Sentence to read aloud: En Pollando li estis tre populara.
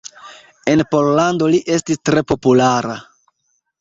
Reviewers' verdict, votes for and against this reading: accepted, 2, 0